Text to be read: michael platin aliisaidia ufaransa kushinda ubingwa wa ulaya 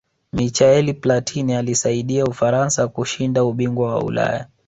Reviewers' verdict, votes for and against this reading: rejected, 0, 2